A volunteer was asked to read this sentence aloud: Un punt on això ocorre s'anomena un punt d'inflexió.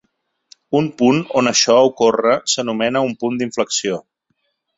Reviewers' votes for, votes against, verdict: 3, 0, accepted